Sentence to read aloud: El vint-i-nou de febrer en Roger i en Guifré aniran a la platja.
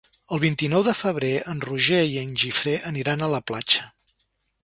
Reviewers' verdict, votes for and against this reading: rejected, 0, 2